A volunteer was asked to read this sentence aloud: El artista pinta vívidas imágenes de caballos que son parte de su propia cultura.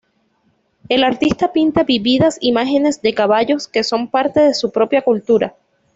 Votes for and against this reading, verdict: 2, 0, accepted